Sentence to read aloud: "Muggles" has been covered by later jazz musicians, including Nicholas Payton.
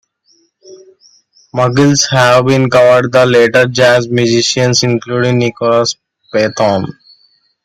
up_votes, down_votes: 0, 2